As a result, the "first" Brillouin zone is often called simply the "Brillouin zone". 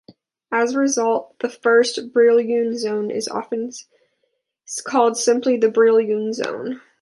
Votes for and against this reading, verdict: 1, 2, rejected